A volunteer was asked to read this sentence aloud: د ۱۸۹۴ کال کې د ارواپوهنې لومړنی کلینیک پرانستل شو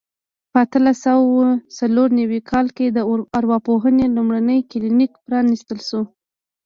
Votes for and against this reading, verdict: 0, 2, rejected